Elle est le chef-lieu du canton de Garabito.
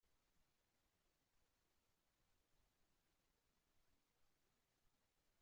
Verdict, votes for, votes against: rejected, 0, 2